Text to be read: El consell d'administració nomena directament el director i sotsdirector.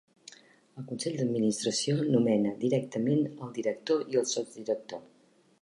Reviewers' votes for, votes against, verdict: 0, 2, rejected